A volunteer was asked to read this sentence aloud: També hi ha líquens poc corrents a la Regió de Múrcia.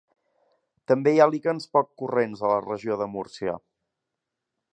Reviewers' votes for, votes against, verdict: 2, 0, accepted